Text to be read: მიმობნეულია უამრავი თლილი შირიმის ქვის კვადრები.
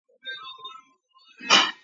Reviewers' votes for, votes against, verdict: 0, 2, rejected